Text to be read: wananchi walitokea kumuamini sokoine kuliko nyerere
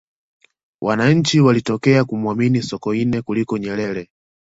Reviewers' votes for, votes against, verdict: 2, 0, accepted